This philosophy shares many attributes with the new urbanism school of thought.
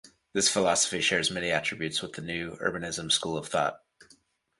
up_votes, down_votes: 2, 0